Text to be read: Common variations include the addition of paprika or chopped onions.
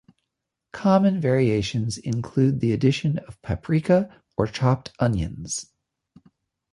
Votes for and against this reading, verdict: 2, 0, accepted